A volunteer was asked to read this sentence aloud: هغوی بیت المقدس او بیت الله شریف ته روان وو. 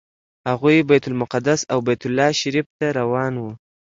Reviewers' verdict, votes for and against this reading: accepted, 2, 0